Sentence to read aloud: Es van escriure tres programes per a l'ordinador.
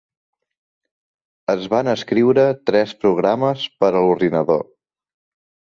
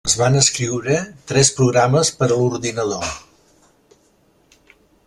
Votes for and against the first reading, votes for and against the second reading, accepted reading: 4, 0, 1, 2, first